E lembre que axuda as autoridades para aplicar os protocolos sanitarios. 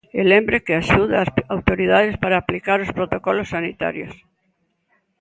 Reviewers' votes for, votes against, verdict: 0, 2, rejected